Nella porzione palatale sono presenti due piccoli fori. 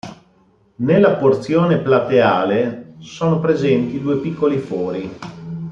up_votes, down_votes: 1, 2